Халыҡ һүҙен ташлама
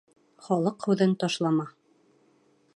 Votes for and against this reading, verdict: 1, 2, rejected